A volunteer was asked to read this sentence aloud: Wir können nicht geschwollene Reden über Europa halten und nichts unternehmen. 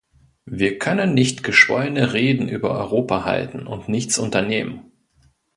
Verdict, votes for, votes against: accepted, 2, 0